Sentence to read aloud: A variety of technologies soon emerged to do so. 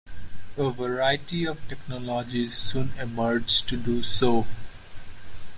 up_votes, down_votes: 1, 2